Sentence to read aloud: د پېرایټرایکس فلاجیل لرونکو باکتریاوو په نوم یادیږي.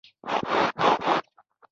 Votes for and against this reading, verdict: 0, 2, rejected